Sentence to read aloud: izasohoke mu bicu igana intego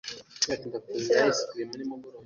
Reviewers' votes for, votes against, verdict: 0, 2, rejected